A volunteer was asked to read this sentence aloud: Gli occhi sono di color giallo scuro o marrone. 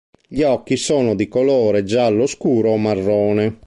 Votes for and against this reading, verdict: 1, 2, rejected